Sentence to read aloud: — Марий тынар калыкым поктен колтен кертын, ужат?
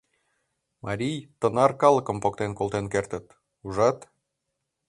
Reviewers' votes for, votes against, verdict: 1, 2, rejected